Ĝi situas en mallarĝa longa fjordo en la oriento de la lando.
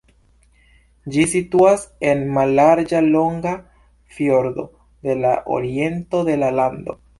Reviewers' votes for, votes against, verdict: 2, 0, accepted